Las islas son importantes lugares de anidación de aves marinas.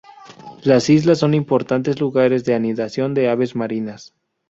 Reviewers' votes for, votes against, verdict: 2, 2, rejected